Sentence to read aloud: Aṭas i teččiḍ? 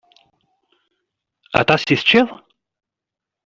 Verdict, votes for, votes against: rejected, 0, 2